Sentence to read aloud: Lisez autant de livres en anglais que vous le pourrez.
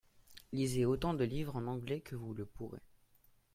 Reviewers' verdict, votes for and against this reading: rejected, 1, 2